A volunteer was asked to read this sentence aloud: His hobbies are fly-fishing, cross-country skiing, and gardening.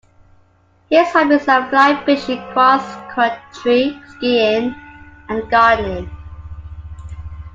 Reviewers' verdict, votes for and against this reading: accepted, 2, 1